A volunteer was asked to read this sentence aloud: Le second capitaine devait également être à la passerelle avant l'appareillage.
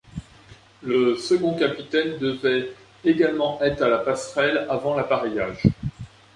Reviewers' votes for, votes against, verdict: 0, 2, rejected